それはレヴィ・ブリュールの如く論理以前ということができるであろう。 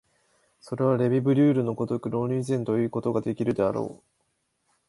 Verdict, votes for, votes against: accepted, 2, 0